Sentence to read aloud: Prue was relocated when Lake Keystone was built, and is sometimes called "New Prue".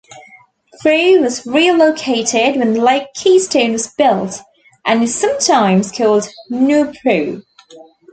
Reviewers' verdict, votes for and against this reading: accepted, 2, 0